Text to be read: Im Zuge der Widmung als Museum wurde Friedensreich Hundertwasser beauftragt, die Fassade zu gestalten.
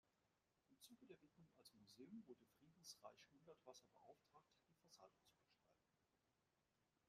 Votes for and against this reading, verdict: 0, 2, rejected